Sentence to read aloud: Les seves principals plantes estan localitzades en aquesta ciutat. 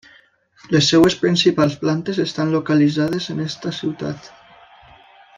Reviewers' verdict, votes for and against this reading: rejected, 0, 2